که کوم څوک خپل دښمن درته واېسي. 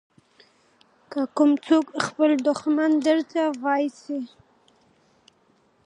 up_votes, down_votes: 2, 0